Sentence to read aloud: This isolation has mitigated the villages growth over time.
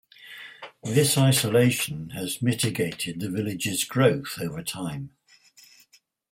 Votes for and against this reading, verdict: 2, 4, rejected